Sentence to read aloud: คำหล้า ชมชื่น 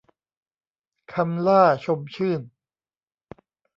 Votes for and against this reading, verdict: 2, 0, accepted